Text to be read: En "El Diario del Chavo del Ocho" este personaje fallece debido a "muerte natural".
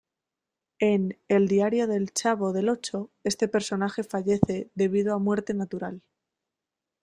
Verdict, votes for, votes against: accepted, 2, 0